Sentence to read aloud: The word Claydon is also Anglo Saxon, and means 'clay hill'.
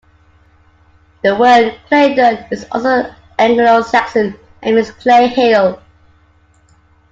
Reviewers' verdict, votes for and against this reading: accepted, 2, 0